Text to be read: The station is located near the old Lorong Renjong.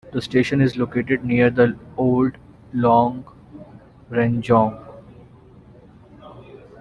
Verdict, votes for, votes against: rejected, 1, 2